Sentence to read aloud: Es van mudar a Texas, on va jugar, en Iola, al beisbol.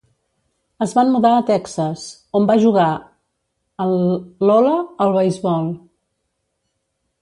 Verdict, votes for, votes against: rejected, 1, 2